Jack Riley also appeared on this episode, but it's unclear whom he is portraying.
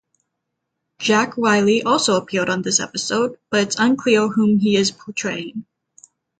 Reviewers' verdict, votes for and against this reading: accepted, 3, 0